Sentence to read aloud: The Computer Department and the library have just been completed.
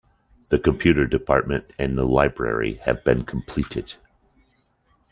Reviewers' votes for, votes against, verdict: 0, 2, rejected